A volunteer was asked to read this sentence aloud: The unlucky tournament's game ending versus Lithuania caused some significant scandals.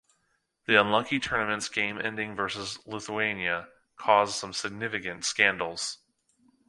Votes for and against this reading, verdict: 3, 0, accepted